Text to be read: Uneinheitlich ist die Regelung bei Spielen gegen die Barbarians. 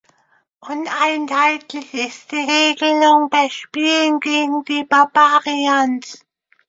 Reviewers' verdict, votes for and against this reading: accepted, 2, 0